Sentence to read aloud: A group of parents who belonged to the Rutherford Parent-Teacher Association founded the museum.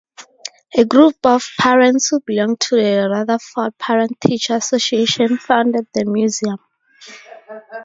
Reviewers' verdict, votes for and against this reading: accepted, 2, 0